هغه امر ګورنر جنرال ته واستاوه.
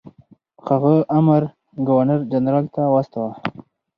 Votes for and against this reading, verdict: 4, 2, accepted